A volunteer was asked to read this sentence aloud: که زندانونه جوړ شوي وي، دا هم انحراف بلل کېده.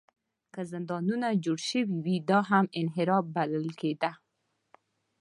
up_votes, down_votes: 2, 0